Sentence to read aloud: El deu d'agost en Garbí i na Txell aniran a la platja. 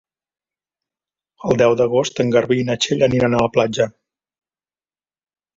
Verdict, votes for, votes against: accepted, 2, 0